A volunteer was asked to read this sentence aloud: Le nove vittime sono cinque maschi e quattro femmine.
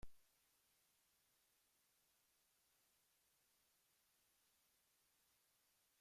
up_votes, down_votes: 0, 2